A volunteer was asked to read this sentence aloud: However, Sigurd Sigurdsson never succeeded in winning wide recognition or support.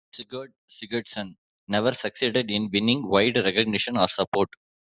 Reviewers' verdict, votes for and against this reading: rejected, 0, 2